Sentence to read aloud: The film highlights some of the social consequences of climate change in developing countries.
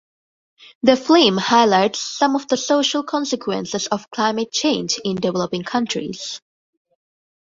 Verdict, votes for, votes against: rejected, 1, 2